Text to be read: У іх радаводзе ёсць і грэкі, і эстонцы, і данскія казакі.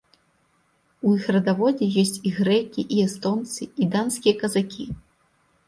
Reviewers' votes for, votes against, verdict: 0, 2, rejected